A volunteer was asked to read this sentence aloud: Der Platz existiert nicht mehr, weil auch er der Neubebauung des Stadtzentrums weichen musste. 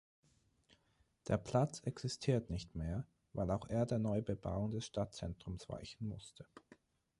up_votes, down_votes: 9, 0